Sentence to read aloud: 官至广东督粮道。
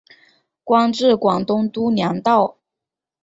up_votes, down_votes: 2, 0